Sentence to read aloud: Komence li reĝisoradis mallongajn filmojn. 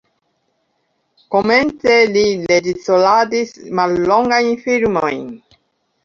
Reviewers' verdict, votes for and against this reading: rejected, 1, 2